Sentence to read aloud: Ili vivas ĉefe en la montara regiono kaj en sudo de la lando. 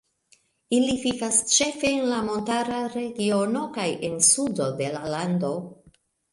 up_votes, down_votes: 2, 1